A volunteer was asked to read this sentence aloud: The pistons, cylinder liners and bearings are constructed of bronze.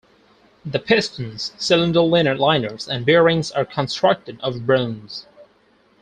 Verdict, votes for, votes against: rejected, 0, 4